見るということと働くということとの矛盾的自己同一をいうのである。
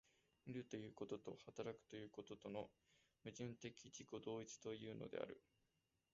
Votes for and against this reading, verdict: 0, 2, rejected